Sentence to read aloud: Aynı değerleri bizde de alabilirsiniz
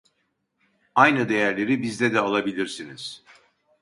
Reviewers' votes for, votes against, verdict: 2, 0, accepted